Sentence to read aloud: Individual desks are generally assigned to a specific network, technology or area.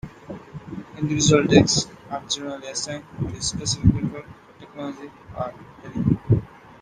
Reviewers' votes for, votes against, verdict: 0, 2, rejected